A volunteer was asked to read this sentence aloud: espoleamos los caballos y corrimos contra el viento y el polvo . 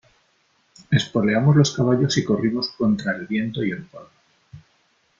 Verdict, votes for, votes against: accepted, 3, 0